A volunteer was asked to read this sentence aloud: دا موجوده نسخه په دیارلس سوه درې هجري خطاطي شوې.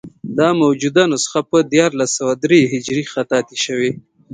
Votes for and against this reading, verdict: 0, 2, rejected